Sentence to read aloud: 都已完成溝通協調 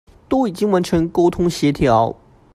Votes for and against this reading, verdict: 1, 2, rejected